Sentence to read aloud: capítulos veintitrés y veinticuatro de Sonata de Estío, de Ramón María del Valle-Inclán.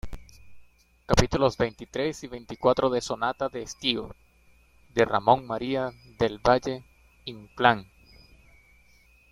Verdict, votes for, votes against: accepted, 2, 0